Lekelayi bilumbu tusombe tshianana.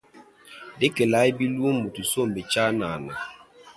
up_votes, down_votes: 1, 2